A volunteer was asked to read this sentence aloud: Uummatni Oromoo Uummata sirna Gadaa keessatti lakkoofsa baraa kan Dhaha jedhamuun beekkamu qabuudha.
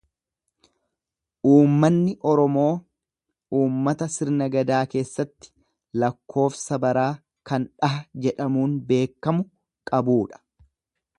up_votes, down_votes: 1, 2